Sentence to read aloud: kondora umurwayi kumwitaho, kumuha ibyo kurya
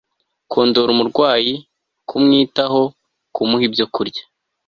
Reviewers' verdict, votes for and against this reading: accepted, 2, 0